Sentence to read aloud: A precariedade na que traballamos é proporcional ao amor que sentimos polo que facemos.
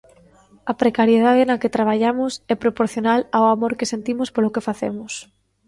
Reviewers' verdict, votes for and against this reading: accepted, 2, 0